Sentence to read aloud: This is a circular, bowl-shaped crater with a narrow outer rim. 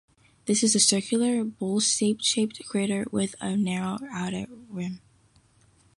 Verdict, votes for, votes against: rejected, 1, 2